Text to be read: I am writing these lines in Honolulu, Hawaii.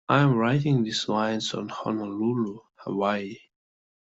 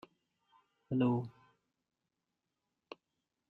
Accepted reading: first